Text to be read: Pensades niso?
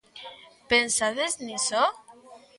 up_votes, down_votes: 3, 0